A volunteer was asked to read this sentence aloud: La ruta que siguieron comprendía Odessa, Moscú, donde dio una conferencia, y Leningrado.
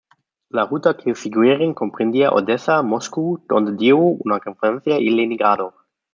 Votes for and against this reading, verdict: 1, 2, rejected